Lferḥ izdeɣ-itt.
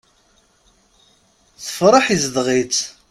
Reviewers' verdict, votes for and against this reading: rejected, 0, 2